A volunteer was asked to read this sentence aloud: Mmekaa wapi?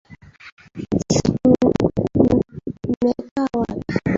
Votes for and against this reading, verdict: 0, 2, rejected